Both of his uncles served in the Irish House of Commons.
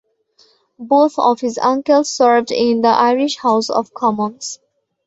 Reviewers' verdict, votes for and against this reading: accepted, 2, 0